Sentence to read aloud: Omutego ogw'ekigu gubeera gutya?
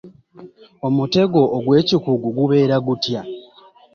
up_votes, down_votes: 1, 2